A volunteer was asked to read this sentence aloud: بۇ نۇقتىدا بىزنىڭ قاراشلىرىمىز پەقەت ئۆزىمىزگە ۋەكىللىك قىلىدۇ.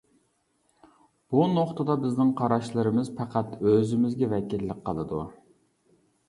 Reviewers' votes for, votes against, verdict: 2, 0, accepted